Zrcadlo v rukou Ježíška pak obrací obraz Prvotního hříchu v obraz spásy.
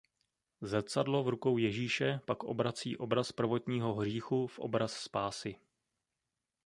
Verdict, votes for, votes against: rejected, 1, 2